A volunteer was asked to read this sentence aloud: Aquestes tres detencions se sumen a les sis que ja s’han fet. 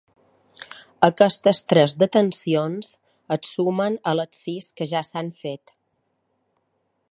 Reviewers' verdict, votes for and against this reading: rejected, 0, 2